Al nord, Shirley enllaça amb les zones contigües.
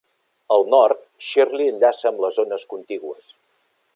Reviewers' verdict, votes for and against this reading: accepted, 3, 0